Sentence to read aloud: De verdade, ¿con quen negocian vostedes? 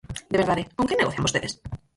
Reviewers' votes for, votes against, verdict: 0, 4, rejected